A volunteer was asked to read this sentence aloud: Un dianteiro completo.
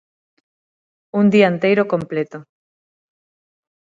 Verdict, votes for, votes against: accepted, 6, 0